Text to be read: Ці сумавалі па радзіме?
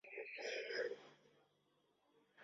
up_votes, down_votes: 0, 2